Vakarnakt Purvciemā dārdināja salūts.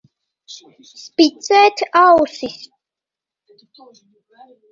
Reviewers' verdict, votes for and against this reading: rejected, 0, 2